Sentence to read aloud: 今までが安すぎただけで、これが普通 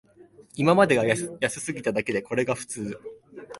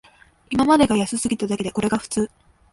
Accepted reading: second